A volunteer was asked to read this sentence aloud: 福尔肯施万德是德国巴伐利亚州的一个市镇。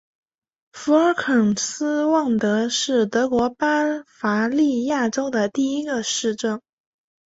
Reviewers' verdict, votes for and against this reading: rejected, 0, 2